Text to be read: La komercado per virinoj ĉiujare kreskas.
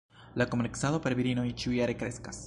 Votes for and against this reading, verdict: 1, 2, rejected